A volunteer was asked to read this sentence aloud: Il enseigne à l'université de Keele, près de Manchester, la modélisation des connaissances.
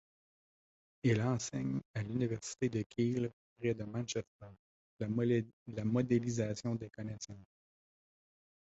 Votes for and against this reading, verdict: 0, 2, rejected